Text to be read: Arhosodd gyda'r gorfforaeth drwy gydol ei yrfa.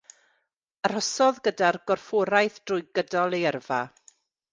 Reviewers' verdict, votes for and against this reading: accepted, 2, 0